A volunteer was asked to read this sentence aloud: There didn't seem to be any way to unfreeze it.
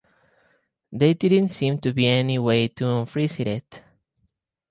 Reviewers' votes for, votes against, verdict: 4, 2, accepted